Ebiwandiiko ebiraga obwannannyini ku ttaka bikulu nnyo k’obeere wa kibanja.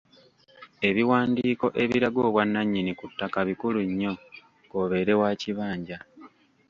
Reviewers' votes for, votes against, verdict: 1, 2, rejected